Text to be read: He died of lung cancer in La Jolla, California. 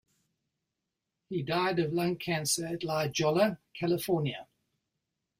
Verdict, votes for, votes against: accepted, 2, 1